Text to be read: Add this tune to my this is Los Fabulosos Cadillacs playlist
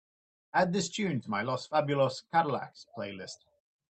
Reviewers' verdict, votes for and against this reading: rejected, 1, 2